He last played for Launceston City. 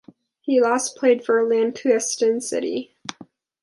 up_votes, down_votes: 1, 2